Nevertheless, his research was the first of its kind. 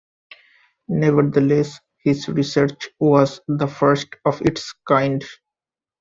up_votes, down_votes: 3, 0